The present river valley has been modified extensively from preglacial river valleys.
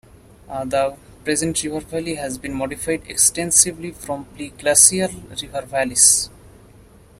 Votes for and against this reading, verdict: 0, 2, rejected